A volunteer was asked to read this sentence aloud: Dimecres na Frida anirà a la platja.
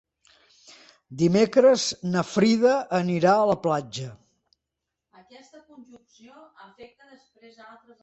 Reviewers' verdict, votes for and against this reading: accepted, 2, 1